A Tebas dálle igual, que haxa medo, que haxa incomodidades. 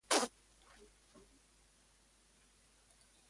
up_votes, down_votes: 0, 2